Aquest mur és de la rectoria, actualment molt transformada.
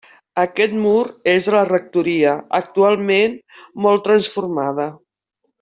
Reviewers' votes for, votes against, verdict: 2, 0, accepted